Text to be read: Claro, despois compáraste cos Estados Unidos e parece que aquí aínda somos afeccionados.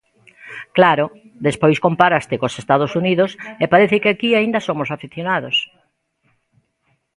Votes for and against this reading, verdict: 2, 1, accepted